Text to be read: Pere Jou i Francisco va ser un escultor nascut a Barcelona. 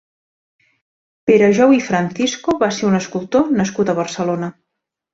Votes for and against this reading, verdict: 3, 0, accepted